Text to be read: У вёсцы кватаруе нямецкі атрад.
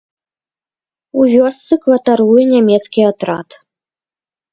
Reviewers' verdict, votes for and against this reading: accepted, 2, 0